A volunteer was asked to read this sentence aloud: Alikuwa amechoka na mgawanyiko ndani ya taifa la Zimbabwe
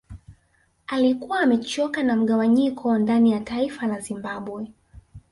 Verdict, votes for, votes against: rejected, 1, 2